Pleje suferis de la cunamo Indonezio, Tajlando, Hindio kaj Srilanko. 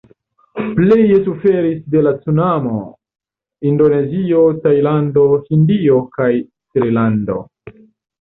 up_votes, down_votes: 0, 2